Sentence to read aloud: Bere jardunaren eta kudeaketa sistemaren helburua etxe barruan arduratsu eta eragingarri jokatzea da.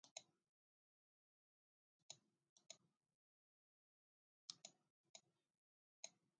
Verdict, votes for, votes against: rejected, 0, 6